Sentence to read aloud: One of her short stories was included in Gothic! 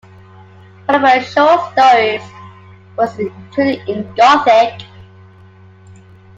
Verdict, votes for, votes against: accepted, 2, 0